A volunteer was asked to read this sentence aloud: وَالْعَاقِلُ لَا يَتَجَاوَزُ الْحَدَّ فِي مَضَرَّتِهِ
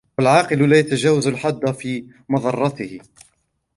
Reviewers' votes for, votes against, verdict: 2, 0, accepted